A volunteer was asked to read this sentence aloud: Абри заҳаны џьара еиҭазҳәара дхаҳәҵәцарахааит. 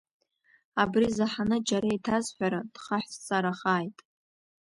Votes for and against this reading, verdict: 1, 2, rejected